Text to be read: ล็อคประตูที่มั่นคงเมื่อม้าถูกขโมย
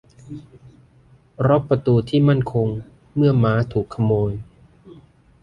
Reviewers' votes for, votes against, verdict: 2, 1, accepted